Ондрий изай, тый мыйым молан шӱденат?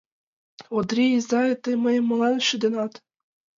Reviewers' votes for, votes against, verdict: 2, 0, accepted